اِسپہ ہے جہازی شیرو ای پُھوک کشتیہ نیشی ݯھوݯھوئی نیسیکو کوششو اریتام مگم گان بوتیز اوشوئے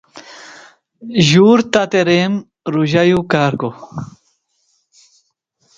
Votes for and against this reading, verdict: 0, 2, rejected